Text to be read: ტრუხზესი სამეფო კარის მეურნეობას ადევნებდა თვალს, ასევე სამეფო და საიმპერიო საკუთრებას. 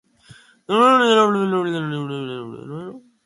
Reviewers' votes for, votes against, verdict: 0, 2, rejected